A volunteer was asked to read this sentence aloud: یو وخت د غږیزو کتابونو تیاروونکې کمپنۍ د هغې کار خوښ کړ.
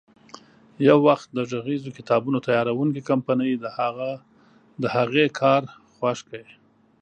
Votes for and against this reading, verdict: 0, 2, rejected